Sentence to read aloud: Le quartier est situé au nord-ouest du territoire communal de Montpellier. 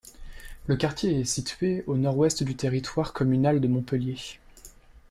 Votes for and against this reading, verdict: 2, 0, accepted